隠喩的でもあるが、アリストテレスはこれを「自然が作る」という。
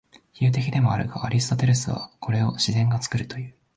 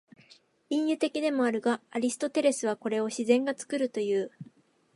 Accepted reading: second